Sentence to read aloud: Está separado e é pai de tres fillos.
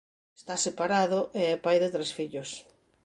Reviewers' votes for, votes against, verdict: 2, 0, accepted